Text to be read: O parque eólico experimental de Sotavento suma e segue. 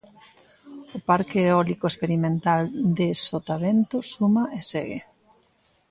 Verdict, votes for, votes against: accepted, 2, 0